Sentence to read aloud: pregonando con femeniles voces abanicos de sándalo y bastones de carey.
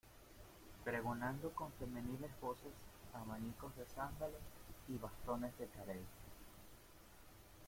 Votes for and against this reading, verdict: 0, 2, rejected